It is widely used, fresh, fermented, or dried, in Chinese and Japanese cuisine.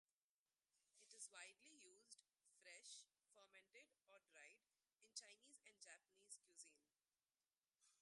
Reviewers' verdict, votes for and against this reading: rejected, 0, 2